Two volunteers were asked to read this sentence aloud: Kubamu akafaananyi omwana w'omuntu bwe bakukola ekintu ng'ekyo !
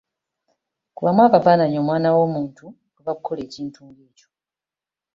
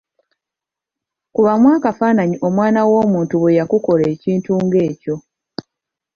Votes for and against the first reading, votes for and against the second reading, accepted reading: 2, 0, 0, 2, first